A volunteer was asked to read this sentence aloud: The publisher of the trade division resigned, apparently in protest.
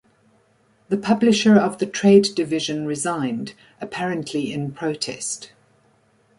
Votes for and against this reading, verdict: 2, 0, accepted